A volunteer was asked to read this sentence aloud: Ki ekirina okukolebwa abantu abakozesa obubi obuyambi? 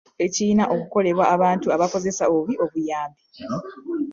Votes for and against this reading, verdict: 1, 2, rejected